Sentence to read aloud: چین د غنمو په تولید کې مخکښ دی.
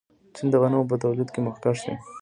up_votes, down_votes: 2, 1